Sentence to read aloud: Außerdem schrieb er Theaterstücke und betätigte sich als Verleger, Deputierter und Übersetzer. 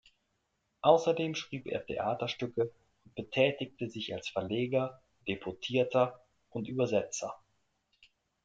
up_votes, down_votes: 1, 2